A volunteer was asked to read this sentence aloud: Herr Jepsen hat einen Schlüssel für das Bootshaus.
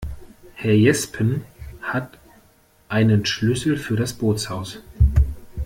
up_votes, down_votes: 0, 2